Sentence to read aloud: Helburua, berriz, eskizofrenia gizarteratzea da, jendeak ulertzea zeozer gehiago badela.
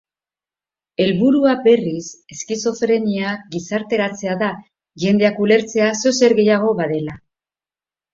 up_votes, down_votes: 2, 0